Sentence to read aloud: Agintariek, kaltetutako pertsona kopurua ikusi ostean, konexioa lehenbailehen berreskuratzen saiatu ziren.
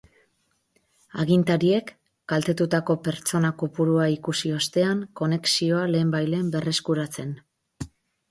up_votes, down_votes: 0, 6